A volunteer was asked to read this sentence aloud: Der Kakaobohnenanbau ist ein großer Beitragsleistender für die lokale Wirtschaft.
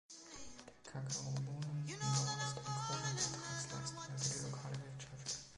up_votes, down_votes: 0, 2